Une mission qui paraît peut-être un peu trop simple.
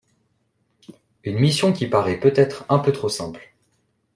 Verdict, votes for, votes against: accepted, 2, 0